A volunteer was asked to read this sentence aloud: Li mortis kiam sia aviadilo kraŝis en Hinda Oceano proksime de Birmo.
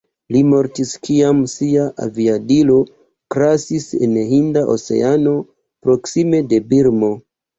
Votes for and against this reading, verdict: 0, 2, rejected